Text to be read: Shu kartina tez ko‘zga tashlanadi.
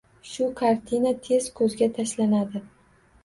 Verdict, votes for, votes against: accepted, 2, 0